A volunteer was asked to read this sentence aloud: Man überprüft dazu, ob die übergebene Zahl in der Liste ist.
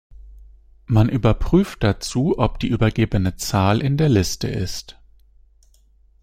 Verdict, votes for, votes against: accepted, 2, 0